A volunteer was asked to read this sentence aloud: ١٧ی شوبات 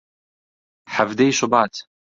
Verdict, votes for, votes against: rejected, 0, 2